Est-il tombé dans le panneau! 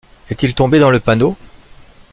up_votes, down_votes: 2, 0